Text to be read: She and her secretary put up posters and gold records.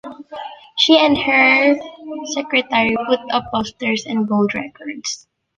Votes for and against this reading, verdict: 0, 2, rejected